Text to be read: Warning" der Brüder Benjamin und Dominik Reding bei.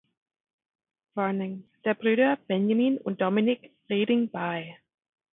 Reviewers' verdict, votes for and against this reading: rejected, 0, 2